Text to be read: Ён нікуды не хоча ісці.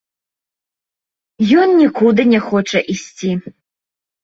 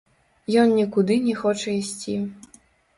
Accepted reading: first